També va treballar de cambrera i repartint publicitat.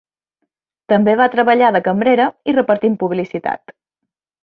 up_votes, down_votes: 2, 0